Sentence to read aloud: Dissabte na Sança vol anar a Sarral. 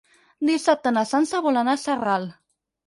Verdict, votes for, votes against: accepted, 6, 0